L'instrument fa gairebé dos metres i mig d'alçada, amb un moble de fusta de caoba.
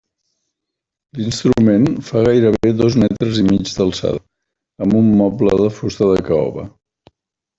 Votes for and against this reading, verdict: 2, 1, accepted